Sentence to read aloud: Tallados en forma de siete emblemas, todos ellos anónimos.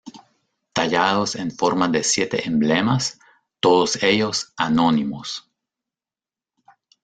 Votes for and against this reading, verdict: 1, 2, rejected